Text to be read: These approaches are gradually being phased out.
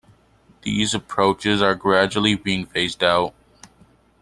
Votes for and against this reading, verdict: 2, 0, accepted